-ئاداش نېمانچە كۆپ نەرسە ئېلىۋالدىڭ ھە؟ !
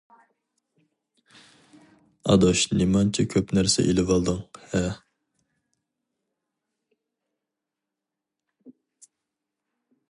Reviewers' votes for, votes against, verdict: 2, 0, accepted